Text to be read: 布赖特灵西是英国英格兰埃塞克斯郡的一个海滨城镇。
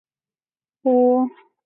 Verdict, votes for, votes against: rejected, 2, 3